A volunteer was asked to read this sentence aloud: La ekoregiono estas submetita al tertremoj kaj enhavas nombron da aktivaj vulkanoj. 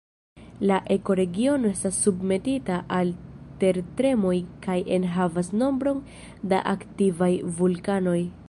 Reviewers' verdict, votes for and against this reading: accepted, 2, 0